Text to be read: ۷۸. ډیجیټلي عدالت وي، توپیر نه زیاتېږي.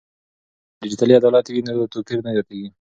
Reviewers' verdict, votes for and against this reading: rejected, 0, 2